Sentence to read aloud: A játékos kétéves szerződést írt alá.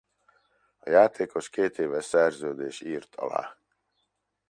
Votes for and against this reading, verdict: 1, 2, rejected